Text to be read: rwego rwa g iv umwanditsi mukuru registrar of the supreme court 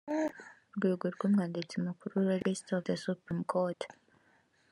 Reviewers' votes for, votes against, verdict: 2, 0, accepted